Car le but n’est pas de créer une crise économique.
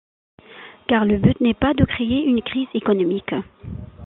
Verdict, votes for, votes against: accepted, 2, 1